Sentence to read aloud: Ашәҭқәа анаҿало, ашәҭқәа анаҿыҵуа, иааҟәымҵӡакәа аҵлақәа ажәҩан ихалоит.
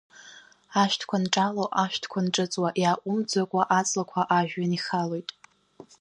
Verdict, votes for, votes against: rejected, 1, 2